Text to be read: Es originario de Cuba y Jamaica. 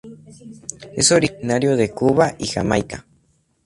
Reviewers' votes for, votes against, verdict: 2, 0, accepted